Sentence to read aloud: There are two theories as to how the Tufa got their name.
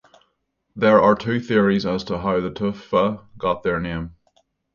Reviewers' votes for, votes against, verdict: 3, 3, rejected